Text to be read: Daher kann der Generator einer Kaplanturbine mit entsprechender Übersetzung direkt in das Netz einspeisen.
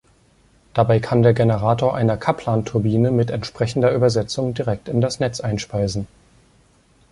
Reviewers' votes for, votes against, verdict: 1, 2, rejected